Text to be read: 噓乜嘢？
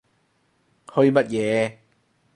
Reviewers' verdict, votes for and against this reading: rejected, 0, 4